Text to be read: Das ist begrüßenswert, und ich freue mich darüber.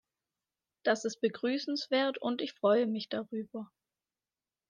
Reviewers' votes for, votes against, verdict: 2, 0, accepted